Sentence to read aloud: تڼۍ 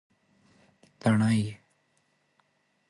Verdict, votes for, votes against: accepted, 2, 0